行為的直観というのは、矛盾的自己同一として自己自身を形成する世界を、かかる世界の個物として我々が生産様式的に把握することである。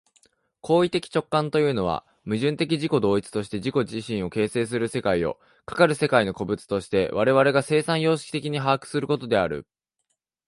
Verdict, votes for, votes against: accepted, 2, 0